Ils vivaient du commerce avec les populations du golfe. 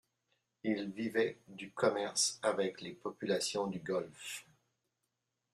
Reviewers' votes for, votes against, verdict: 2, 1, accepted